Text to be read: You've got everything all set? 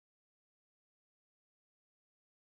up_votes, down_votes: 0, 2